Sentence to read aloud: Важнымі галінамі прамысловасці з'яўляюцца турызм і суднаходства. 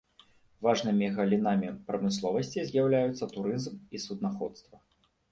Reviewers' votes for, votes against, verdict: 1, 2, rejected